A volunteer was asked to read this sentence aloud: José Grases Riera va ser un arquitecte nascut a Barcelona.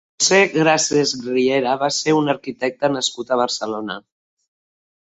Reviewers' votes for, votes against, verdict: 1, 2, rejected